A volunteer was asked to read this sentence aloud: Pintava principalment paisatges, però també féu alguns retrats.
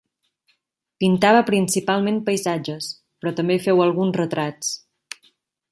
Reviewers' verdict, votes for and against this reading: rejected, 0, 2